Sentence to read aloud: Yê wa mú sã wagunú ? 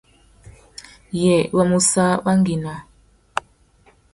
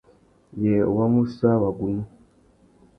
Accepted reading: second